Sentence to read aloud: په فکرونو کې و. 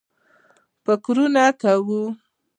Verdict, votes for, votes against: rejected, 0, 2